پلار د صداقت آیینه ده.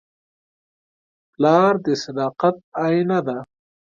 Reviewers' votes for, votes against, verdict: 2, 0, accepted